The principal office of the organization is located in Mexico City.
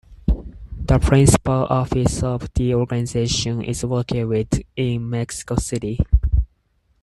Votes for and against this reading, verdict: 2, 4, rejected